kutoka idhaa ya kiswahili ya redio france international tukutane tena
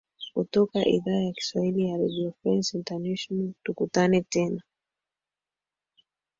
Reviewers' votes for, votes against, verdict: 3, 1, accepted